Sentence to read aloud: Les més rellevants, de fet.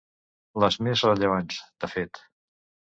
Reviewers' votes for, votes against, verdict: 2, 0, accepted